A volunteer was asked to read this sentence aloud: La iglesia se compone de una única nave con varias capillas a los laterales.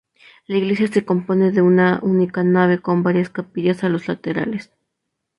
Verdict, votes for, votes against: accepted, 2, 0